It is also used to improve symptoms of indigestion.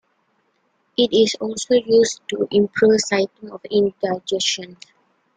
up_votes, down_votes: 0, 2